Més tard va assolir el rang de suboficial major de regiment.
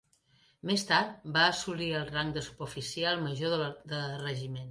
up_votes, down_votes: 0, 2